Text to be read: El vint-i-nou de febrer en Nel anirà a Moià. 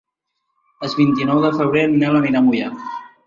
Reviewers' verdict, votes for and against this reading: rejected, 1, 2